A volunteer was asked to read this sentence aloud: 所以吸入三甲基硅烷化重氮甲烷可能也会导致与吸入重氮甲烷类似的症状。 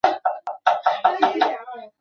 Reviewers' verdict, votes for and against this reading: rejected, 2, 5